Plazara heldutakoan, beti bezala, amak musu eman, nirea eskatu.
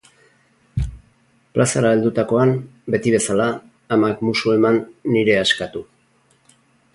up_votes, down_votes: 0, 2